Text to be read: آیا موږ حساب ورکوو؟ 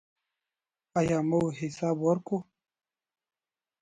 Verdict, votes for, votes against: rejected, 2, 3